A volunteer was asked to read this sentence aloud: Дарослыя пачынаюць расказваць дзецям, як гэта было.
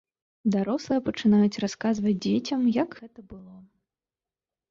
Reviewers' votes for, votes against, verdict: 2, 3, rejected